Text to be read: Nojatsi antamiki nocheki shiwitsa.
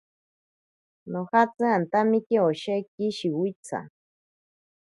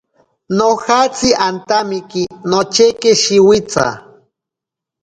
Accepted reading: second